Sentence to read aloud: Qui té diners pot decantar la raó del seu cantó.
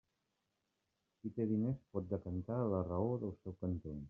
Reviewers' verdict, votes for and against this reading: rejected, 1, 2